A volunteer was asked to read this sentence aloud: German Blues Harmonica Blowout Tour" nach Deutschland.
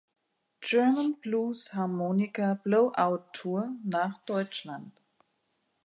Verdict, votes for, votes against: accepted, 2, 0